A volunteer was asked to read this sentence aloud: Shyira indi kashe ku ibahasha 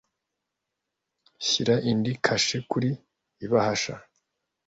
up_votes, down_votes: 1, 2